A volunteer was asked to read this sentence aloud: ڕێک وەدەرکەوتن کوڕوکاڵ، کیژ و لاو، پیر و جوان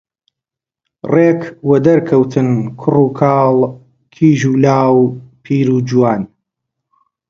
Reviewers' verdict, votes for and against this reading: accepted, 2, 0